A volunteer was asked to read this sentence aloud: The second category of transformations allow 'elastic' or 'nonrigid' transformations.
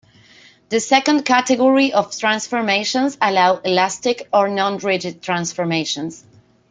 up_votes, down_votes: 2, 0